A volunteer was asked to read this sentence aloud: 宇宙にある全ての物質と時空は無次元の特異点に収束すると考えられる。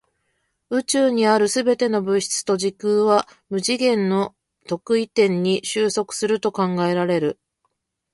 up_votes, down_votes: 0, 2